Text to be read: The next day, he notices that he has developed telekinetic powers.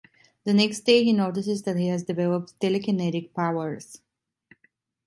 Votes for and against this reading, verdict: 2, 0, accepted